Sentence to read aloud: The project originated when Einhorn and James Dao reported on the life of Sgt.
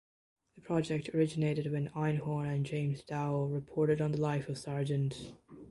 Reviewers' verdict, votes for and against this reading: accepted, 2, 0